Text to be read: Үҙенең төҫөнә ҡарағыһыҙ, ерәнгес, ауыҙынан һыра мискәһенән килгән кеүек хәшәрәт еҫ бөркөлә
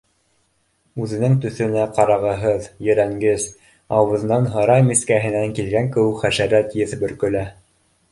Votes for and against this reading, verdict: 2, 0, accepted